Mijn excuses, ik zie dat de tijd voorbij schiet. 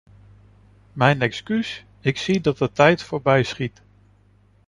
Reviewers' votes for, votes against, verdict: 2, 1, accepted